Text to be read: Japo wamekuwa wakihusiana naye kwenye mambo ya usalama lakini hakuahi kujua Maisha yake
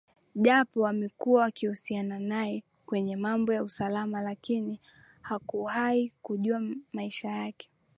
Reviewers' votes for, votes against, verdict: 2, 1, accepted